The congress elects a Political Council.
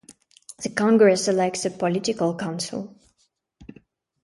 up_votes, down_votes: 2, 0